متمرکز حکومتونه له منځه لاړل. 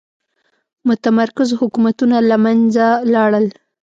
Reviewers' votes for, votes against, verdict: 2, 0, accepted